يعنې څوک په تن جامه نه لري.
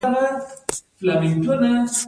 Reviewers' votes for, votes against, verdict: 1, 2, rejected